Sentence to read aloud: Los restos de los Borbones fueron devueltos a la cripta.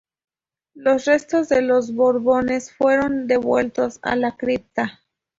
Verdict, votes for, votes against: rejected, 0, 2